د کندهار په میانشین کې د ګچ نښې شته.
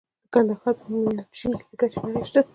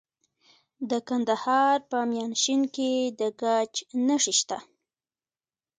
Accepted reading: first